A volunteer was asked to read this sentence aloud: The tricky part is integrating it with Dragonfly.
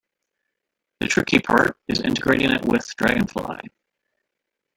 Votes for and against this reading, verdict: 0, 2, rejected